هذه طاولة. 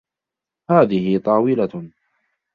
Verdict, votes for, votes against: rejected, 1, 2